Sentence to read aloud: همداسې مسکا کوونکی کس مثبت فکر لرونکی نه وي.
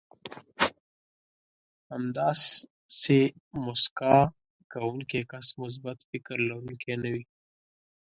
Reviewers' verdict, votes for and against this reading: rejected, 1, 2